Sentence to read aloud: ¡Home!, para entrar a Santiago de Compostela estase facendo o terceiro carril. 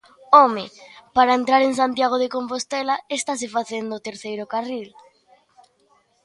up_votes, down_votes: 0, 2